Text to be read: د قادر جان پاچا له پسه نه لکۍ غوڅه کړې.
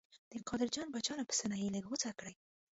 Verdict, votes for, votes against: rejected, 1, 2